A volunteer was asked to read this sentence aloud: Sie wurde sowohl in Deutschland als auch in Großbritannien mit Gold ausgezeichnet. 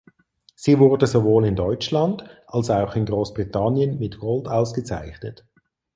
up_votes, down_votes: 4, 0